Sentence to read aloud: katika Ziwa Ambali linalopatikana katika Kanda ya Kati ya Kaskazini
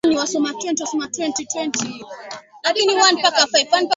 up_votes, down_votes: 0, 2